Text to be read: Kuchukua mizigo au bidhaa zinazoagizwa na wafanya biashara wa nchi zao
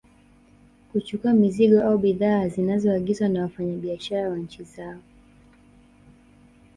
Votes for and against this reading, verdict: 2, 0, accepted